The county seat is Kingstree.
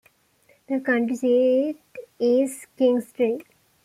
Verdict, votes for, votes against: rejected, 1, 2